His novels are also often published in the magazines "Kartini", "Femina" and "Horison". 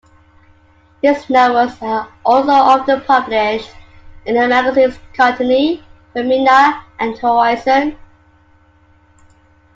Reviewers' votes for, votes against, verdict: 0, 2, rejected